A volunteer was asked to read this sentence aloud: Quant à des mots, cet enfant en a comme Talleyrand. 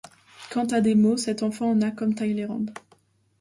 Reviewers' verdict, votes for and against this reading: rejected, 1, 2